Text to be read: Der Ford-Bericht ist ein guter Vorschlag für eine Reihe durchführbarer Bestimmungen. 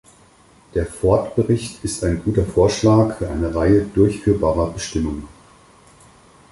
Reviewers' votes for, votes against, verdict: 4, 0, accepted